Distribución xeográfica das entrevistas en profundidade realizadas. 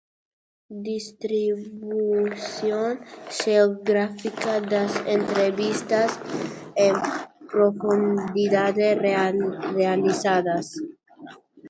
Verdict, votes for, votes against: rejected, 0, 2